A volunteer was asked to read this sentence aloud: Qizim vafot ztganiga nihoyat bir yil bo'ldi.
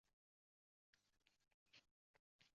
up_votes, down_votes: 0, 2